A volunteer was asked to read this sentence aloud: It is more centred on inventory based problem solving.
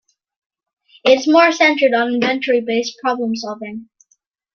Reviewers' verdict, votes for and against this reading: rejected, 1, 2